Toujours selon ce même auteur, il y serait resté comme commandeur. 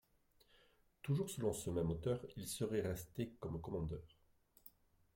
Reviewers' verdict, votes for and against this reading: rejected, 1, 2